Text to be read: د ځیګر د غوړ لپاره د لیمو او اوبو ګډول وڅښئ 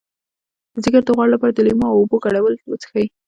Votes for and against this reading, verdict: 1, 2, rejected